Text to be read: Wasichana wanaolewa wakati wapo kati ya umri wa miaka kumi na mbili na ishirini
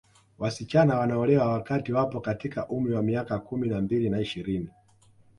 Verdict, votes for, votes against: accepted, 2, 0